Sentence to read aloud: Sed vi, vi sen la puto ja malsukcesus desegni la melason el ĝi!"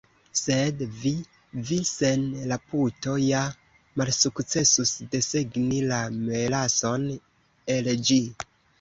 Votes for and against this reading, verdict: 2, 1, accepted